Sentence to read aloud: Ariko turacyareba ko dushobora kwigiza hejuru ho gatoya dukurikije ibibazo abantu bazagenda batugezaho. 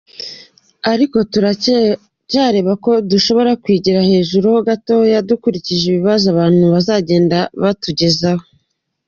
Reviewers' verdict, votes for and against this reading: accepted, 2, 1